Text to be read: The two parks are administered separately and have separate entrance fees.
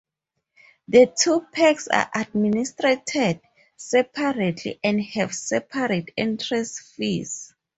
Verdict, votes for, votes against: rejected, 2, 2